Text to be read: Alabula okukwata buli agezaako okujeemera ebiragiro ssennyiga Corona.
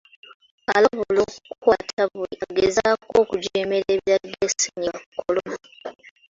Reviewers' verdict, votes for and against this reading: rejected, 0, 2